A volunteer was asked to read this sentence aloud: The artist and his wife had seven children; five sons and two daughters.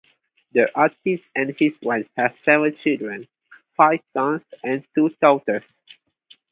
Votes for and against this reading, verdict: 2, 0, accepted